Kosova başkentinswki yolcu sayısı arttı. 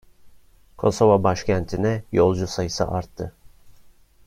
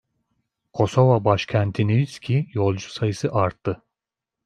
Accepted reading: second